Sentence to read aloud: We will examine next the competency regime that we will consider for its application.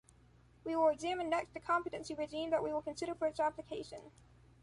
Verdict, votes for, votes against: accepted, 2, 0